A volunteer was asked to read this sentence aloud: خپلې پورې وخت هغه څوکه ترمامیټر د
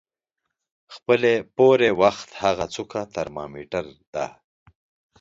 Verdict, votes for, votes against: accepted, 2, 0